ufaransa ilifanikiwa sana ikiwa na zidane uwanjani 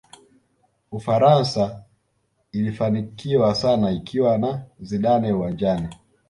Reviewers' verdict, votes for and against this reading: accepted, 2, 0